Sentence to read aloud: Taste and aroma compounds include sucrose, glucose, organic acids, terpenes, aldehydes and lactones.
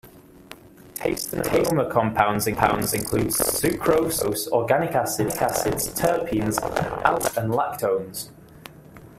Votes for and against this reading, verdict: 0, 2, rejected